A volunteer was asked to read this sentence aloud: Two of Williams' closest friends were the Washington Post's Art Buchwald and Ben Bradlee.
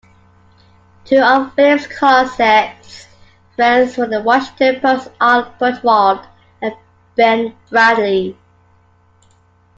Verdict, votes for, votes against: accepted, 2, 0